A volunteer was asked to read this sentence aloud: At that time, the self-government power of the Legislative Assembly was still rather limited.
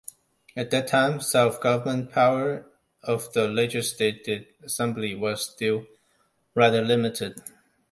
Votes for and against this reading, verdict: 0, 2, rejected